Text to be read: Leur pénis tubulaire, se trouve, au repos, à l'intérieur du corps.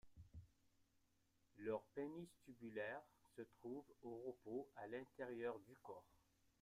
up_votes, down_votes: 1, 2